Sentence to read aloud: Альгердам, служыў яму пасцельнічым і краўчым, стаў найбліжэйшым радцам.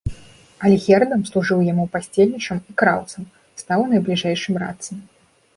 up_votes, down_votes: 1, 2